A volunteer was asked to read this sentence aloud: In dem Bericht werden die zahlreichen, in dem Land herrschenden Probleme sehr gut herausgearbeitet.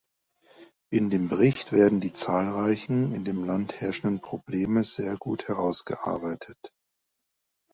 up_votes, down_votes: 2, 0